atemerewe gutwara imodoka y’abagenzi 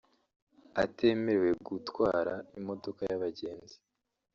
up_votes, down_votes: 1, 2